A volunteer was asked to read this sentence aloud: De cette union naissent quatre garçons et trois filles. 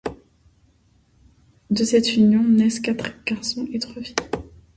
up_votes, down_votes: 2, 1